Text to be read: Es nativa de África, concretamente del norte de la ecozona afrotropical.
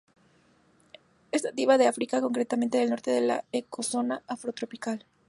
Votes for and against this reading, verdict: 4, 0, accepted